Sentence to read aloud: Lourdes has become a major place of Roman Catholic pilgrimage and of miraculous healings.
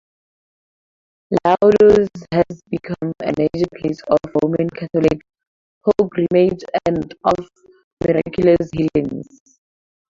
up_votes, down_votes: 2, 4